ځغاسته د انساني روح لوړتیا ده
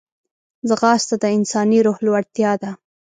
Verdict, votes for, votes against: accepted, 2, 0